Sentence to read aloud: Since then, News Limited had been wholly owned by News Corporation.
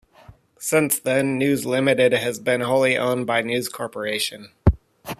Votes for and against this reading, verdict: 0, 2, rejected